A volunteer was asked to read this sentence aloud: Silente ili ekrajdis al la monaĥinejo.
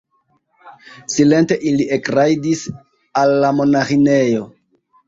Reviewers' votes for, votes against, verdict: 2, 0, accepted